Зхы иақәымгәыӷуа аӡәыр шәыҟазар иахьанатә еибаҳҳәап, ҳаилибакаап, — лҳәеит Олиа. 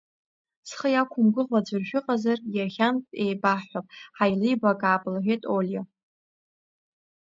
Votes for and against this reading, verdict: 2, 0, accepted